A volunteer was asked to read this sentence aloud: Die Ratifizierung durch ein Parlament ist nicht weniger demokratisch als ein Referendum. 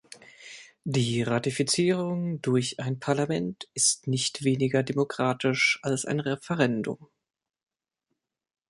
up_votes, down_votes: 2, 0